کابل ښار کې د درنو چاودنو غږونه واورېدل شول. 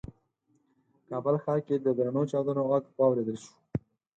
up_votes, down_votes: 2, 4